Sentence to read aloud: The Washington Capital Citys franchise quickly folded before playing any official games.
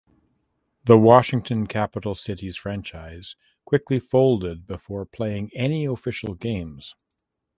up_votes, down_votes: 2, 0